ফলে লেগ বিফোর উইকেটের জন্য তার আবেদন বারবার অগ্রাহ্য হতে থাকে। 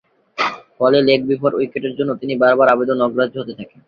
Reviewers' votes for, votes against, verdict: 3, 3, rejected